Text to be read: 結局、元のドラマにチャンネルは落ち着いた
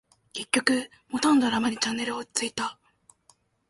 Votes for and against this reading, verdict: 0, 2, rejected